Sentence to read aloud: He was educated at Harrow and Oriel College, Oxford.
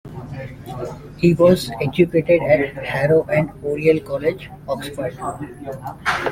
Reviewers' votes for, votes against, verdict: 2, 0, accepted